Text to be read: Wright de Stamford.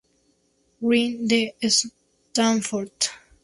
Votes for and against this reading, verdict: 0, 2, rejected